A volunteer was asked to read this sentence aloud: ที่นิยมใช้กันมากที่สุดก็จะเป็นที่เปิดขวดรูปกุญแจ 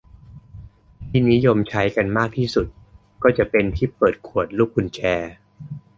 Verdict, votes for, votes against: accepted, 2, 0